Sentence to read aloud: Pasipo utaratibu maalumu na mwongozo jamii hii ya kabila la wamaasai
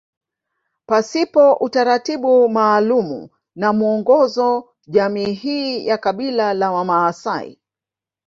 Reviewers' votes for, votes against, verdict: 2, 0, accepted